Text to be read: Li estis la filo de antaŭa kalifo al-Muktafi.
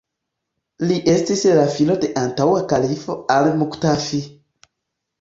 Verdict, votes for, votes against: accepted, 2, 1